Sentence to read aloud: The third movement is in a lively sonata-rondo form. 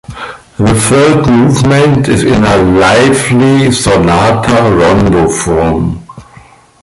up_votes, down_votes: 2, 1